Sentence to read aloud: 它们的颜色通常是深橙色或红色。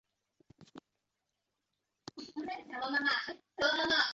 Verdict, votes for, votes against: rejected, 0, 2